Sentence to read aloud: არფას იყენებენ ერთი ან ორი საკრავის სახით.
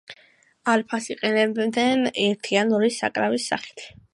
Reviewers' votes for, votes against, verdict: 2, 1, accepted